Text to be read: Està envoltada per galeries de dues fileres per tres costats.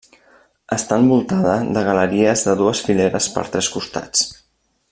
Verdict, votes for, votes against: rejected, 0, 2